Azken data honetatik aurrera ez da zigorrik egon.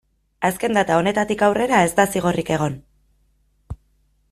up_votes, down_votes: 2, 0